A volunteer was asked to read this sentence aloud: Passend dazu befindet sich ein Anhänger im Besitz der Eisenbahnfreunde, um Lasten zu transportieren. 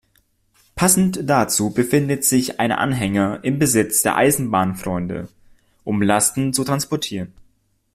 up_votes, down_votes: 2, 0